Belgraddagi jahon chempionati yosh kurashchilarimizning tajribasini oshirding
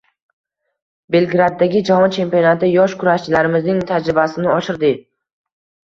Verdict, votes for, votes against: rejected, 0, 2